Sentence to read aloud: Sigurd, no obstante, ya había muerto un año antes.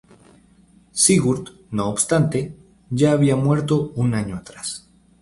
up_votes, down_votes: 0, 2